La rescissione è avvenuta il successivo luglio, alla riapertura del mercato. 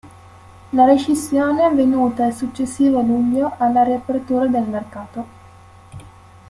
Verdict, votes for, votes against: accepted, 2, 1